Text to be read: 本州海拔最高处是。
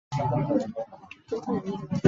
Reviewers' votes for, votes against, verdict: 0, 2, rejected